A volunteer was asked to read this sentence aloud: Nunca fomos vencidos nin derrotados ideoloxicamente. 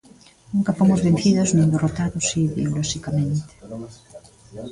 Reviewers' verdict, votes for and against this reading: rejected, 0, 2